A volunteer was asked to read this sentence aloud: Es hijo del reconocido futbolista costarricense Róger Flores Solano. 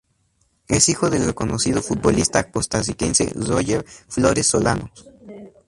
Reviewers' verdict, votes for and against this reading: accepted, 4, 0